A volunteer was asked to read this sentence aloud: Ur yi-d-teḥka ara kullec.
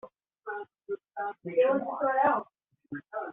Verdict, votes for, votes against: rejected, 0, 2